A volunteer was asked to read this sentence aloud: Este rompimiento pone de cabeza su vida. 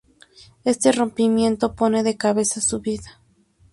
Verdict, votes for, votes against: accepted, 2, 0